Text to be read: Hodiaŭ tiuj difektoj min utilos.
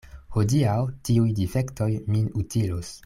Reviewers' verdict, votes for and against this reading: accepted, 2, 0